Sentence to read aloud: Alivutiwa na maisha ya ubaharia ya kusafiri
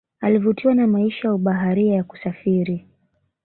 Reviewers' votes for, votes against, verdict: 2, 1, accepted